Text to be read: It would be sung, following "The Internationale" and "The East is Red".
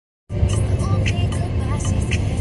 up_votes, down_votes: 0, 2